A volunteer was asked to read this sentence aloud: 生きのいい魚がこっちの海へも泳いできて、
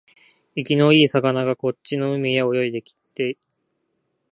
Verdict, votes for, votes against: rejected, 1, 2